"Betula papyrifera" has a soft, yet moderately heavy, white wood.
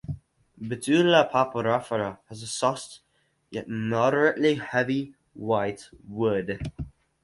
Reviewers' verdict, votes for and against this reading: rejected, 2, 2